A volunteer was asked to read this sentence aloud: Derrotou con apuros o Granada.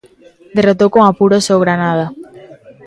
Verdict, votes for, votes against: rejected, 0, 2